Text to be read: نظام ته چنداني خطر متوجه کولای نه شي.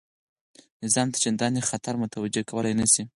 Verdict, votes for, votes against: accepted, 4, 0